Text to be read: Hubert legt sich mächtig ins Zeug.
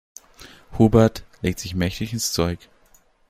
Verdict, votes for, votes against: accepted, 2, 0